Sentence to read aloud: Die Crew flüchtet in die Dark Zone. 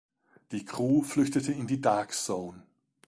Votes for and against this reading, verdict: 2, 1, accepted